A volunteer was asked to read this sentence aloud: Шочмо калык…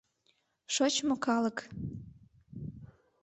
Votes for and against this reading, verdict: 2, 0, accepted